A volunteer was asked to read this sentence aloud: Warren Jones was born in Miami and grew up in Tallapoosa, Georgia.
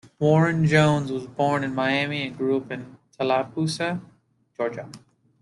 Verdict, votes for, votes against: accepted, 2, 0